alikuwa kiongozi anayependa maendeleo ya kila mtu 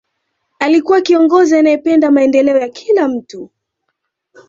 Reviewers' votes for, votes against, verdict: 2, 0, accepted